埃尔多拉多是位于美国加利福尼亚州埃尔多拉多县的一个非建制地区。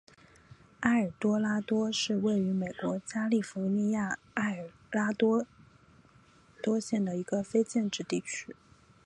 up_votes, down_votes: 2, 0